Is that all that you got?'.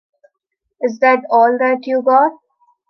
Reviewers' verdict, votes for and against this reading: accepted, 2, 0